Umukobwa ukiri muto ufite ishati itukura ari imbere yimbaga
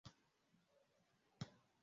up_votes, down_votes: 0, 2